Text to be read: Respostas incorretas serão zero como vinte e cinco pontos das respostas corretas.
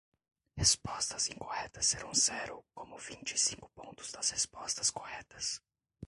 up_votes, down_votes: 1, 2